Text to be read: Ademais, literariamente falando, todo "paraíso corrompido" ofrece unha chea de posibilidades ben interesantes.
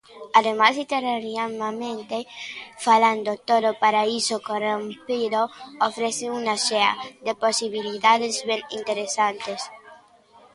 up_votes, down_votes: 0, 2